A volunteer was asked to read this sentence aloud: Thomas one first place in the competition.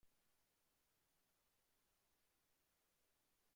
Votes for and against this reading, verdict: 0, 2, rejected